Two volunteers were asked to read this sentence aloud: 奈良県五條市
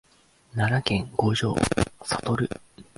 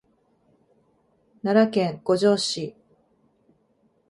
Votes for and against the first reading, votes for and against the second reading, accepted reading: 0, 2, 2, 0, second